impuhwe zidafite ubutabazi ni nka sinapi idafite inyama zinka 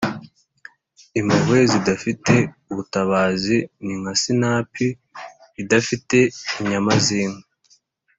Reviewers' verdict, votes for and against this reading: accepted, 3, 0